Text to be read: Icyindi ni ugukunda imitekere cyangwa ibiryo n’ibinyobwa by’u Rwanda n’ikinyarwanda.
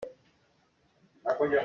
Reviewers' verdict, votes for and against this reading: rejected, 0, 2